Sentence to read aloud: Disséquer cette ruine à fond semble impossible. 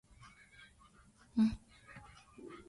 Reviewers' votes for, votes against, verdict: 0, 2, rejected